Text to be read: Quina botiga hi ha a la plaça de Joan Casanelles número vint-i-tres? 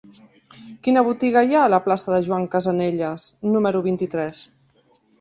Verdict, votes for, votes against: accepted, 3, 0